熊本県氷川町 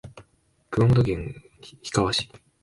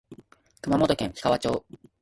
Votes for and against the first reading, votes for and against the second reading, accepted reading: 1, 2, 2, 1, second